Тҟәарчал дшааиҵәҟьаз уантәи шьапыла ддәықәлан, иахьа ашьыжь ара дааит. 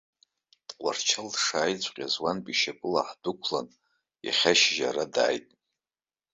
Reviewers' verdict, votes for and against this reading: rejected, 0, 2